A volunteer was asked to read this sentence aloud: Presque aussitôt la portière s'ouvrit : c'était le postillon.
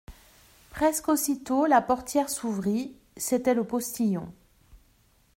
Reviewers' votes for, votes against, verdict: 2, 0, accepted